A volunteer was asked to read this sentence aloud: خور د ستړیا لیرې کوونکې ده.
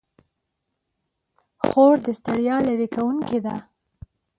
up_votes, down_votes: 2, 0